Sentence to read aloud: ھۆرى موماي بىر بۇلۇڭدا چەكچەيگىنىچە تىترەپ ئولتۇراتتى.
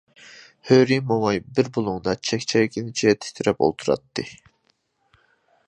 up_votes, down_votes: 0, 2